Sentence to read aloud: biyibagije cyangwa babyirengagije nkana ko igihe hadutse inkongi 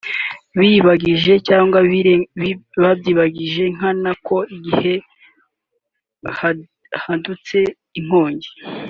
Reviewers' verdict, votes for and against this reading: rejected, 0, 2